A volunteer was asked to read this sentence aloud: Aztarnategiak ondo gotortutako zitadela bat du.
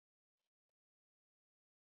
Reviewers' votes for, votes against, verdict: 0, 4, rejected